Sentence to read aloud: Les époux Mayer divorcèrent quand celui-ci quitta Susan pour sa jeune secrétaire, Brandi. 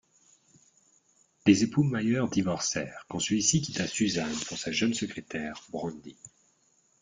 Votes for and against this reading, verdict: 2, 0, accepted